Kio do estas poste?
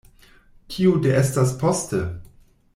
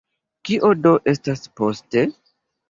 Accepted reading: second